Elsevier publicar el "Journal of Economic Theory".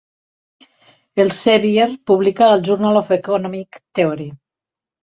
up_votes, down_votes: 0, 3